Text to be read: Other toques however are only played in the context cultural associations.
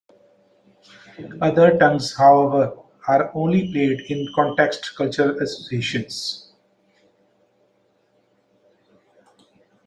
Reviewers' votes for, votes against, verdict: 0, 2, rejected